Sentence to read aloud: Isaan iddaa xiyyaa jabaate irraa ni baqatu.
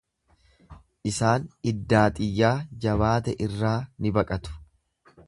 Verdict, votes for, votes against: accepted, 2, 0